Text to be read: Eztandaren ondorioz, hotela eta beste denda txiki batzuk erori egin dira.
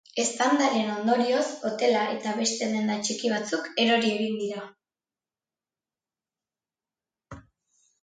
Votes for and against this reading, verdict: 2, 0, accepted